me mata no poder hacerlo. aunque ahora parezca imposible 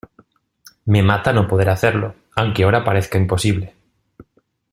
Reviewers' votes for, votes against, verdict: 2, 0, accepted